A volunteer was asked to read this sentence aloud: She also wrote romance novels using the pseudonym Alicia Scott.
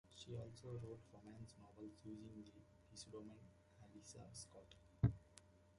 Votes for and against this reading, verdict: 1, 2, rejected